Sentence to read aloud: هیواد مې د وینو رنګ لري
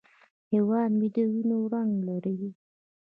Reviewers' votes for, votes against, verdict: 1, 2, rejected